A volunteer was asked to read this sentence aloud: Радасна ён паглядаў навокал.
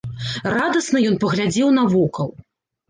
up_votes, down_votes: 1, 2